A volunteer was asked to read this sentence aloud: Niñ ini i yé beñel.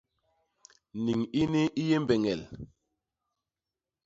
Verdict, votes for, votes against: rejected, 0, 2